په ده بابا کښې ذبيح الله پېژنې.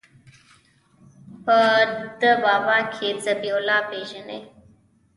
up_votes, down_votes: 0, 2